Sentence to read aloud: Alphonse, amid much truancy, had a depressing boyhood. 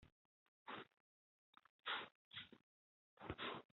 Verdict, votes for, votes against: rejected, 0, 2